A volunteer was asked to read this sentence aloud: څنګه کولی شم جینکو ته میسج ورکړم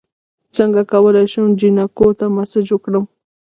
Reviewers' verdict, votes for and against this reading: rejected, 1, 2